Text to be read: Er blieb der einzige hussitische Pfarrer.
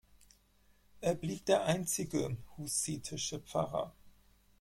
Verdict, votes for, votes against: accepted, 4, 0